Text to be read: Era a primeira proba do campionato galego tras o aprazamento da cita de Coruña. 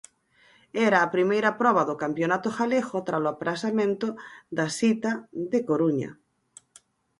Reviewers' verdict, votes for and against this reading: rejected, 0, 4